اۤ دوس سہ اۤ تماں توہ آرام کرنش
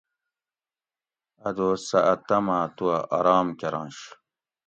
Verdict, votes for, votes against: accepted, 2, 0